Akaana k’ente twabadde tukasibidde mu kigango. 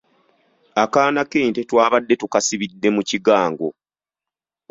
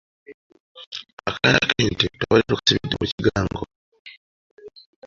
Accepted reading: first